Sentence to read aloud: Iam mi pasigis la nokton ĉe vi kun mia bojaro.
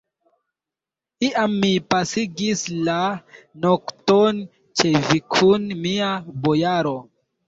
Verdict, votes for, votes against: rejected, 0, 2